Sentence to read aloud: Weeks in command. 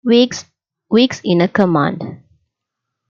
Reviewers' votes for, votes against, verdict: 0, 2, rejected